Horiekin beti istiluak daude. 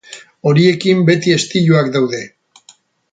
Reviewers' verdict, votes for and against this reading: accepted, 4, 0